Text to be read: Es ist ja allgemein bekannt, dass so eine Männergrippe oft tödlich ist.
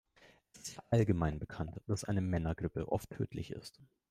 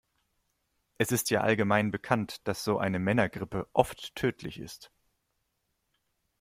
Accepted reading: second